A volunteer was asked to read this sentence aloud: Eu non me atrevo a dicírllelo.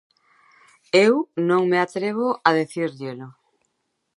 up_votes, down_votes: 0, 2